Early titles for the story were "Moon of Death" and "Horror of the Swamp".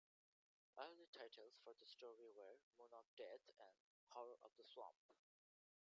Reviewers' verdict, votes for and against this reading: accepted, 2, 0